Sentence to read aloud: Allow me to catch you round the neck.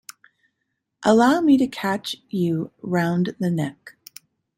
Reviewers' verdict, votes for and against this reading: accepted, 2, 0